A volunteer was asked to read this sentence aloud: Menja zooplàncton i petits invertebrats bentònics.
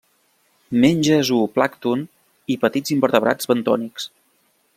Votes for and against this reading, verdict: 2, 0, accepted